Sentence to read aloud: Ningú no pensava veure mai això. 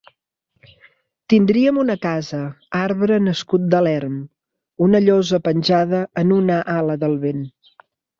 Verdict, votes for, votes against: rejected, 0, 2